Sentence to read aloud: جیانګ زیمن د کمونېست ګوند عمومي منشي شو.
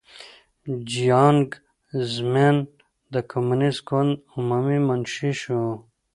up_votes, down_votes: 2, 1